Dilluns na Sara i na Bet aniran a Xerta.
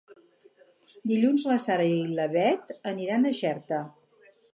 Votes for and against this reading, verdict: 0, 2, rejected